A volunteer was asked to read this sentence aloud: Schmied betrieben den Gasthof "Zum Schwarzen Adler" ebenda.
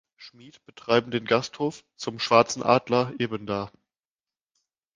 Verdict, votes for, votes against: rejected, 0, 2